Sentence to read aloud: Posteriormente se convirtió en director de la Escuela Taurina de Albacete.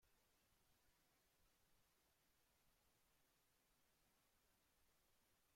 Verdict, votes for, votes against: rejected, 0, 2